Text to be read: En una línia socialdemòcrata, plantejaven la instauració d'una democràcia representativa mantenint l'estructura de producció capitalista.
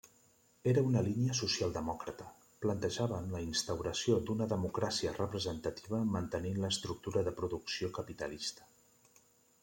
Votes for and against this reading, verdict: 1, 2, rejected